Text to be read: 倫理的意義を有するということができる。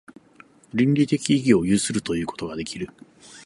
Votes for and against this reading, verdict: 2, 0, accepted